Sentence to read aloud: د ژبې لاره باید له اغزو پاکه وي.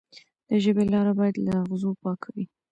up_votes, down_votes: 1, 2